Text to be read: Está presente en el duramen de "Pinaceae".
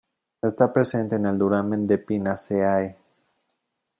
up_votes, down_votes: 2, 0